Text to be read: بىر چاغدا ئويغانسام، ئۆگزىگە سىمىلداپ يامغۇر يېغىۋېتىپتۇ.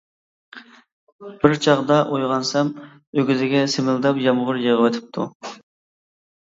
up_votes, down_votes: 2, 0